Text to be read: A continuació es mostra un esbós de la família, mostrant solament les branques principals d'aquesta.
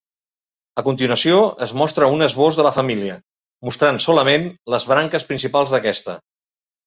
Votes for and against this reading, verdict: 2, 0, accepted